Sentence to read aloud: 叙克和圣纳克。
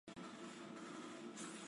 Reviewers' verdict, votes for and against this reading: rejected, 0, 2